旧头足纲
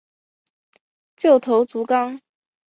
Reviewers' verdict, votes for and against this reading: accepted, 2, 0